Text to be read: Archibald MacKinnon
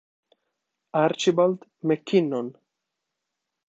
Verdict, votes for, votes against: accepted, 2, 0